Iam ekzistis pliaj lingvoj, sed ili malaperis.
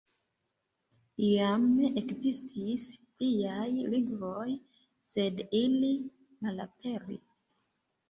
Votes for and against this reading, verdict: 2, 1, accepted